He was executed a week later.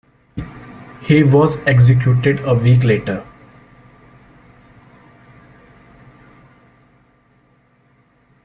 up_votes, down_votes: 1, 2